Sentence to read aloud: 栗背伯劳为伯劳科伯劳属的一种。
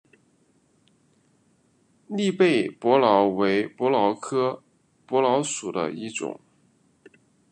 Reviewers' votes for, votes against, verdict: 2, 0, accepted